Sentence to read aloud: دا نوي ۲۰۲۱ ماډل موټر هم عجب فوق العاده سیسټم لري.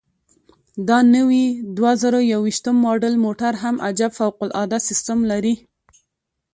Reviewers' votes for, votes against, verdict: 0, 2, rejected